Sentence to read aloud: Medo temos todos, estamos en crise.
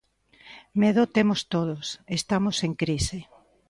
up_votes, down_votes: 2, 0